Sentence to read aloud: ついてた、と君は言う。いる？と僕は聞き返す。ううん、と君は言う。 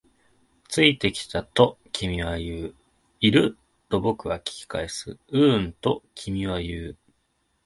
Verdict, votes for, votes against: rejected, 6, 7